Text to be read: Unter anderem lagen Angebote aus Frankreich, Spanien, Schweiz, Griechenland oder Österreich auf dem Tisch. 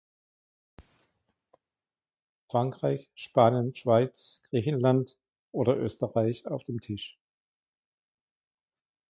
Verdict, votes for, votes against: rejected, 0, 2